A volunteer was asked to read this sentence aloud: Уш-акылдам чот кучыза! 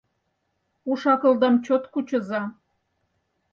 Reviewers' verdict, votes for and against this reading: accepted, 4, 0